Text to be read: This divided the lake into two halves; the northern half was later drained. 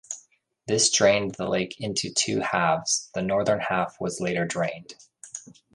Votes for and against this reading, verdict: 0, 2, rejected